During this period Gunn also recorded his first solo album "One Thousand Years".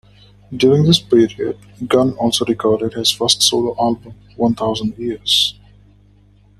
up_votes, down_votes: 2, 0